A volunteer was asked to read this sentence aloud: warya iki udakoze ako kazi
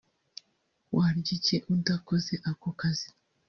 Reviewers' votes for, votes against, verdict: 2, 0, accepted